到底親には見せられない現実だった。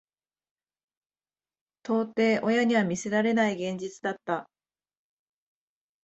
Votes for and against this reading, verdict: 3, 0, accepted